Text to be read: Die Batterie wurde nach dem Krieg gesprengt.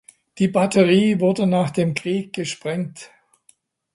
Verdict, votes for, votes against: accepted, 2, 0